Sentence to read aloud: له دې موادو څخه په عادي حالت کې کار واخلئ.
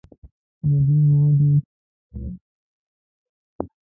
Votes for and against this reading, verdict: 0, 2, rejected